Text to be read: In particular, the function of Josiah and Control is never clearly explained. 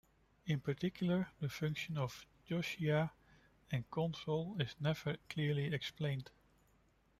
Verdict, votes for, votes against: rejected, 1, 2